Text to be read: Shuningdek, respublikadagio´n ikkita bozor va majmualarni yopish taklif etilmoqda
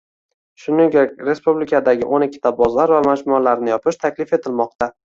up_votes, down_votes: 2, 0